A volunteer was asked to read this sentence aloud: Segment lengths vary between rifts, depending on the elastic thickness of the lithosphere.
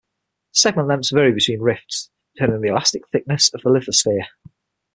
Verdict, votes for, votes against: rejected, 0, 6